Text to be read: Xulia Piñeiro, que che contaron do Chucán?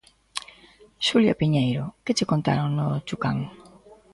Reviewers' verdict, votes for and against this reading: rejected, 0, 2